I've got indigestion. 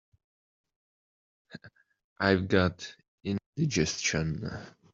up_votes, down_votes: 0, 2